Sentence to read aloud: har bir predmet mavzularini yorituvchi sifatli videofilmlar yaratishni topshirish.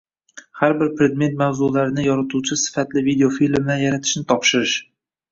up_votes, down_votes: 0, 2